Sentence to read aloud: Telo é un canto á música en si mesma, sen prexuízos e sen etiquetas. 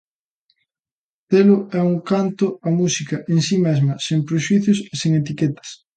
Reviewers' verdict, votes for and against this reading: accepted, 2, 0